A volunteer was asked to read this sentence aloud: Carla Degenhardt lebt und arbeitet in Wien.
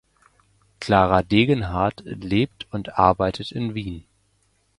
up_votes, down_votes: 0, 2